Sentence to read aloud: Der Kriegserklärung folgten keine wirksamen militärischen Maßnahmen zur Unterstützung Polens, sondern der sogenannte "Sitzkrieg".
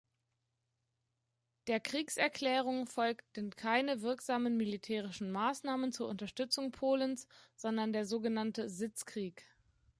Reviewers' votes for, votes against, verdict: 2, 0, accepted